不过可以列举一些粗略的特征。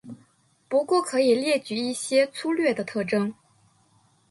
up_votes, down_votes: 2, 1